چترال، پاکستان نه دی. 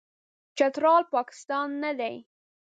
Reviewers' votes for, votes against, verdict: 2, 0, accepted